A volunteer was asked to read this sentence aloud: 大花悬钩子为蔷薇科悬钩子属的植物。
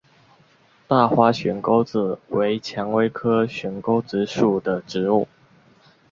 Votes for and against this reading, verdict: 4, 0, accepted